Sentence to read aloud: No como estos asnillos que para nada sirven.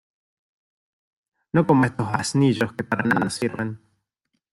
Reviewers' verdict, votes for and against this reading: rejected, 0, 2